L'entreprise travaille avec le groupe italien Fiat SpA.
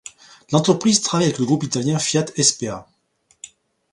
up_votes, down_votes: 2, 0